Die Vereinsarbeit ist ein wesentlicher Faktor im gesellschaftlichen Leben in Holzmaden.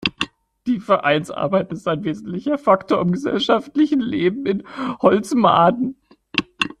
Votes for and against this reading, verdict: 0, 2, rejected